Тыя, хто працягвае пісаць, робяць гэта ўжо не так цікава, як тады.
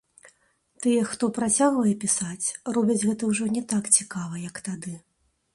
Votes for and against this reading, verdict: 2, 0, accepted